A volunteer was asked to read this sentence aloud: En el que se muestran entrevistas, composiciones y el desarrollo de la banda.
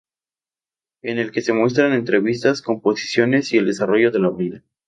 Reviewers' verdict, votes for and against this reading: rejected, 0, 2